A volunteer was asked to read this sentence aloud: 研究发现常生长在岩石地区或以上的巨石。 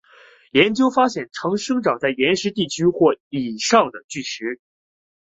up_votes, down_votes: 4, 0